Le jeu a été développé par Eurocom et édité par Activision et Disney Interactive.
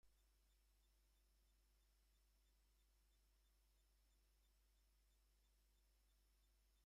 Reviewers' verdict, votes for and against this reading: rejected, 1, 2